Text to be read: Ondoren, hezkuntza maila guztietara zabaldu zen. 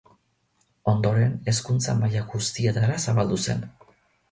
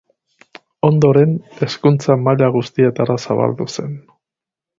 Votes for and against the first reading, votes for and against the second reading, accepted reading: 2, 0, 2, 2, first